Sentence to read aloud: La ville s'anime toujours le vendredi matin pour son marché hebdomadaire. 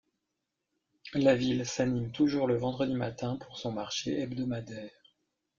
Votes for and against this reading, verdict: 2, 0, accepted